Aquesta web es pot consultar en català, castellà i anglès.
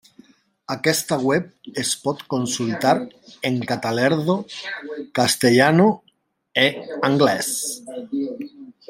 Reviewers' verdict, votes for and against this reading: rejected, 0, 2